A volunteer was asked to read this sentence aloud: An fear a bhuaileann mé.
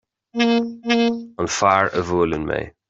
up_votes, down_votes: 1, 2